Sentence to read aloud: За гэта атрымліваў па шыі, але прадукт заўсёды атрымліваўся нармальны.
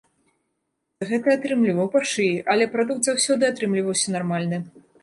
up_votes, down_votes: 0, 2